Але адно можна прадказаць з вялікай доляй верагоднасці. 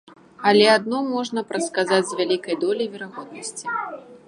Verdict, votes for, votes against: rejected, 1, 2